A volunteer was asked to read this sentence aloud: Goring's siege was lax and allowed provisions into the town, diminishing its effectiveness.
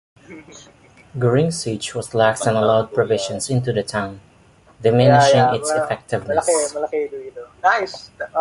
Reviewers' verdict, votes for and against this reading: rejected, 1, 2